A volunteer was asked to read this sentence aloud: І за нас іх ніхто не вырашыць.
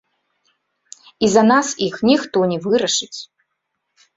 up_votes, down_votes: 1, 3